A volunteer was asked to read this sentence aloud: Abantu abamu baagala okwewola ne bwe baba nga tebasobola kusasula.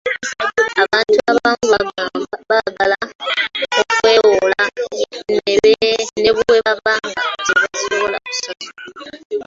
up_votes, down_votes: 0, 3